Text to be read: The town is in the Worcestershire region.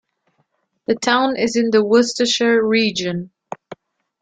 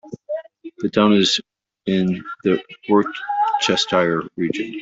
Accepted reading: first